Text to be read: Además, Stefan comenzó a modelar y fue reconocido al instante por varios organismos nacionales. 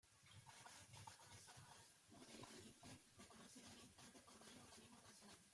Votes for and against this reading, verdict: 0, 2, rejected